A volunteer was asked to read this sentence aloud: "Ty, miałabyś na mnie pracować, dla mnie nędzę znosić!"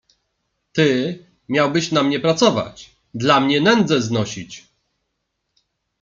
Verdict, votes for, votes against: rejected, 0, 2